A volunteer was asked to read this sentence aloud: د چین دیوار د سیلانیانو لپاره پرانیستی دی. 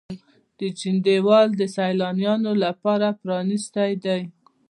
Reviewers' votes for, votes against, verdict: 0, 2, rejected